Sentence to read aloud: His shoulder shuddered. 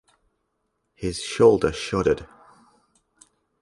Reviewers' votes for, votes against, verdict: 4, 0, accepted